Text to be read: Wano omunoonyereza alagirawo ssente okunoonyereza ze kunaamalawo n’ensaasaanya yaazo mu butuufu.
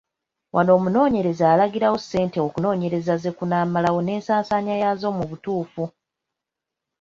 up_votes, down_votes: 2, 0